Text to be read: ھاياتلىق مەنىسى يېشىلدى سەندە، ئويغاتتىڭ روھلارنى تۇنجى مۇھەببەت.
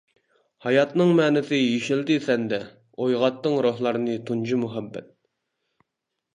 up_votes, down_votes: 1, 2